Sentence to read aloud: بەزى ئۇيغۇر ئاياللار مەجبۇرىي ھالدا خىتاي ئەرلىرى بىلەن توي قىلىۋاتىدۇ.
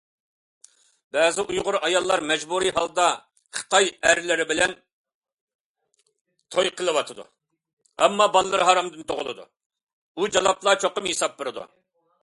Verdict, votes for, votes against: rejected, 0, 2